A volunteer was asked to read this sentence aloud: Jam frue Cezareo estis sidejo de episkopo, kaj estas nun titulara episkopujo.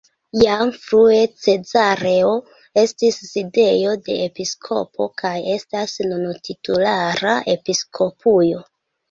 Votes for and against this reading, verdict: 3, 0, accepted